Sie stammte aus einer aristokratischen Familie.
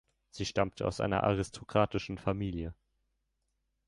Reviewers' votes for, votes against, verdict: 2, 0, accepted